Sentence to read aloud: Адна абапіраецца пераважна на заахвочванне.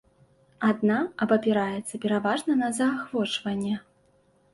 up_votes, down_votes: 2, 0